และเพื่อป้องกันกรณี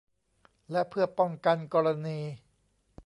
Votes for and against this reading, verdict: 3, 0, accepted